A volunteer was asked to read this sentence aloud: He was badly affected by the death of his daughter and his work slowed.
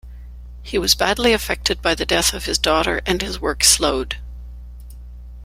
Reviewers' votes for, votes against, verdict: 2, 0, accepted